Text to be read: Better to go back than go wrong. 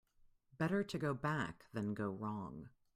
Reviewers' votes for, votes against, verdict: 2, 1, accepted